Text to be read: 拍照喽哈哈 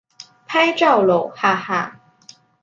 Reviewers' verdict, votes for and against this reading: accepted, 2, 1